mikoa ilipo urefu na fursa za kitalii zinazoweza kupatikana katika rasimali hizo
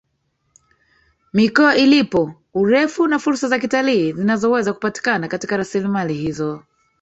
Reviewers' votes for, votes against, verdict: 2, 3, rejected